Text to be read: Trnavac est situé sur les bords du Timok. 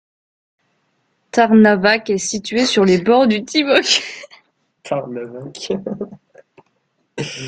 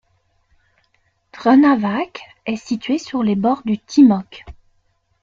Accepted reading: second